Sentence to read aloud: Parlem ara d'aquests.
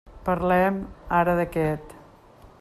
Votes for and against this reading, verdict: 0, 2, rejected